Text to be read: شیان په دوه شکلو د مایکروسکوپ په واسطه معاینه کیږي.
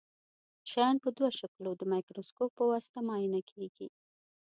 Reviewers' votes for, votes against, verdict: 3, 0, accepted